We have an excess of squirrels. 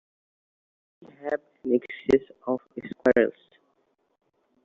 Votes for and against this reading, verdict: 1, 2, rejected